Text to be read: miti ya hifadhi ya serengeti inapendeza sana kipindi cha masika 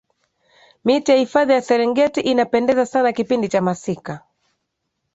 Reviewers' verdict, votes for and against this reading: accepted, 2, 0